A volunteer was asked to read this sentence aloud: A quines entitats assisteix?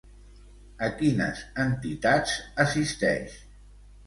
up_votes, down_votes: 1, 2